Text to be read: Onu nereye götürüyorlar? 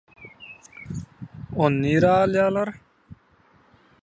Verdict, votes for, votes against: rejected, 0, 2